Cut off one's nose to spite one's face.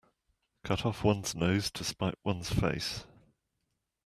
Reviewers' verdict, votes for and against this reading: accepted, 2, 1